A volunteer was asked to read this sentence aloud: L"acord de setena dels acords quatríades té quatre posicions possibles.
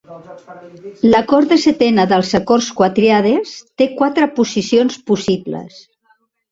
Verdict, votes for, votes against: rejected, 0, 2